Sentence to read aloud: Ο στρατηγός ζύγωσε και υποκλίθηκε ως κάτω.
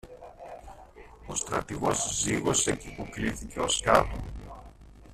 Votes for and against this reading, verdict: 0, 2, rejected